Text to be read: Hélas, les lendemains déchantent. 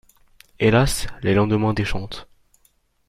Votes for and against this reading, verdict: 2, 0, accepted